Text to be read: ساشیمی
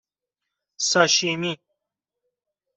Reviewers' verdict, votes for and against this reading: accepted, 2, 0